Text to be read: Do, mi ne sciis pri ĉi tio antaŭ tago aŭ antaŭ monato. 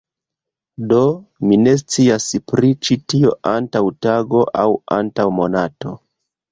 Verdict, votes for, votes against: rejected, 1, 2